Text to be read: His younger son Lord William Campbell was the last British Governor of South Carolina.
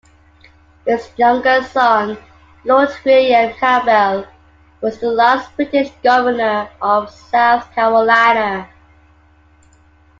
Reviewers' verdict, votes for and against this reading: accepted, 3, 1